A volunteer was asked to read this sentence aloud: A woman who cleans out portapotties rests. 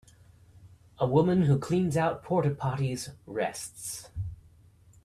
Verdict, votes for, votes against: accepted, 2, 0